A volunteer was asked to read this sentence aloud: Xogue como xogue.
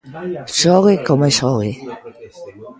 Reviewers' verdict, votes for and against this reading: rejected, 0, 2